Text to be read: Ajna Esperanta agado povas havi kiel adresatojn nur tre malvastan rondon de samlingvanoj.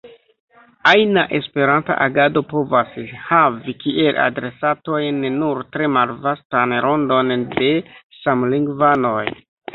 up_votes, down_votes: 1, 2